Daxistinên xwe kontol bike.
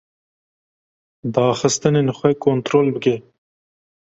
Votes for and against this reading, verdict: 1, 2, rejected